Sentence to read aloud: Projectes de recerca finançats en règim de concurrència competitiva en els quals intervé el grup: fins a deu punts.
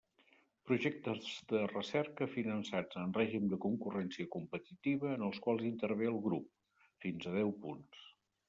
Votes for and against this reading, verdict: 2, 0, accepted